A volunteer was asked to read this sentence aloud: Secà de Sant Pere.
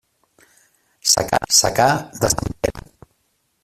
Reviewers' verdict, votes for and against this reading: rejected, 0, 2